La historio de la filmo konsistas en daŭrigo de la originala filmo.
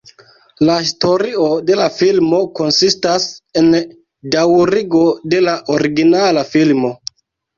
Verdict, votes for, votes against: rejected, 0, 2